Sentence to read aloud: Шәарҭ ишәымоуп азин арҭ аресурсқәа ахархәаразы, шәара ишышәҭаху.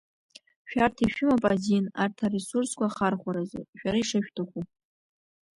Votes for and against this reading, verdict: 0, 2, rejected